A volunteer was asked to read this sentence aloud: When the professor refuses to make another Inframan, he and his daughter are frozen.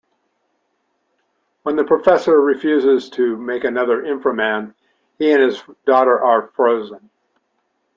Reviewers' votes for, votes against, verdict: 2, 0, accepted